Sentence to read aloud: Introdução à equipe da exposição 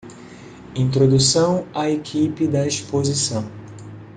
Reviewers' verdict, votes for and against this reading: accepted, 2, 1